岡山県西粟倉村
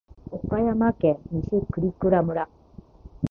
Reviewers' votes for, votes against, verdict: 1, 2, rejected